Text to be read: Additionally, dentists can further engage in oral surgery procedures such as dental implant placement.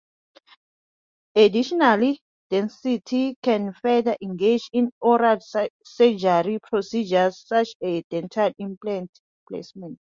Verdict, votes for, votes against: rejected, 0, 2